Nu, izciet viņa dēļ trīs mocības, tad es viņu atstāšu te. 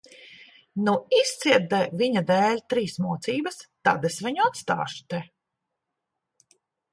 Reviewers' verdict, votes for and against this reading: rejected, 0, 3